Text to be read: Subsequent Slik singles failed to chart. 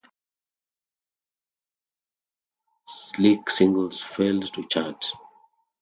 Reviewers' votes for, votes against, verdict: 0, 2, rejected